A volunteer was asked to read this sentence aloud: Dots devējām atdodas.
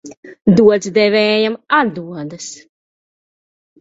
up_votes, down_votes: 1, 2